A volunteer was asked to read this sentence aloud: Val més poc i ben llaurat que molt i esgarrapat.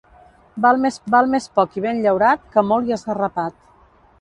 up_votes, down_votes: 1, 2